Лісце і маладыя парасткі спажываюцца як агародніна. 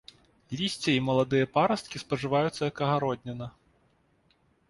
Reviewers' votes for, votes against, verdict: 2, 0, accepted